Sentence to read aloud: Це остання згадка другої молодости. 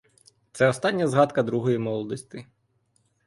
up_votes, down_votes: 2, 0